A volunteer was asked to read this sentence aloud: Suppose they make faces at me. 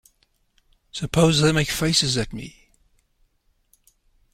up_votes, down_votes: 2, 0